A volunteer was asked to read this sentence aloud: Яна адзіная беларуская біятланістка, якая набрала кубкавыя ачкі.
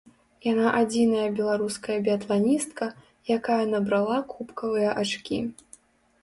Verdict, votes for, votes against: accepted, 3, 0